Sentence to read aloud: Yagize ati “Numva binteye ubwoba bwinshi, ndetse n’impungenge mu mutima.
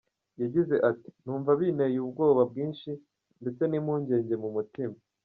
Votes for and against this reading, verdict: 2, 1, accepted